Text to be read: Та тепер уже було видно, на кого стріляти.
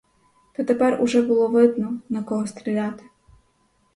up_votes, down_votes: 4, 0